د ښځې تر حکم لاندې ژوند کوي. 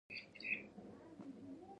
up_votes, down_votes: 1, 2